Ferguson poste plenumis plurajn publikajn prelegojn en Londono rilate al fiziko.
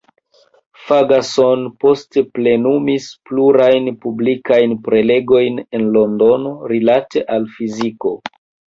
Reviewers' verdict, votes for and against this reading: rejected, 0, 2